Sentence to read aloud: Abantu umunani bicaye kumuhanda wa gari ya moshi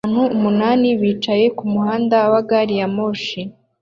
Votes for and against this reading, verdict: 2, 0, accepted